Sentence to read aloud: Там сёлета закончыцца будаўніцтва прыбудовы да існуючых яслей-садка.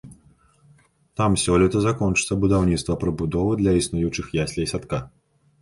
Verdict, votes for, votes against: rejected, 1, 2